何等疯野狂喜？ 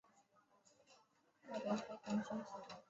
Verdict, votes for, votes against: rejected, 0, 2